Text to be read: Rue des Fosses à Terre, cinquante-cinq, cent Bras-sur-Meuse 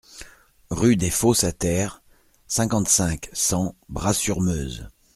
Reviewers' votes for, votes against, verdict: 2, 0, accepted